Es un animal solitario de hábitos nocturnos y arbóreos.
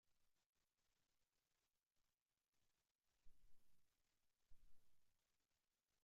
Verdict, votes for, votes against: rejected, 0, 2